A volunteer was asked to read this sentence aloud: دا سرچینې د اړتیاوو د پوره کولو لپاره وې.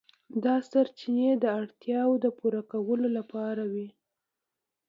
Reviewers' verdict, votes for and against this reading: accepted, 2, 0